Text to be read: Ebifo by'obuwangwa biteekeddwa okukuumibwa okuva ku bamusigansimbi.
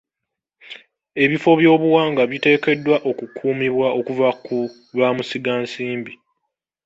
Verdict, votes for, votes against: rejected, 1, 2